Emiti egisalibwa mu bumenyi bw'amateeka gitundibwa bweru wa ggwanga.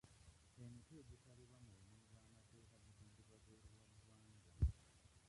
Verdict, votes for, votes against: rejected, 1, 2